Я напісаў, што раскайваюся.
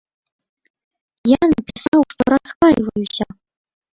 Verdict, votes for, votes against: rejected, 0, 2